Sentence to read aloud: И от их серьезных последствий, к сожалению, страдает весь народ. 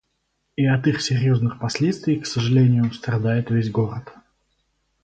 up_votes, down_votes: 2, 2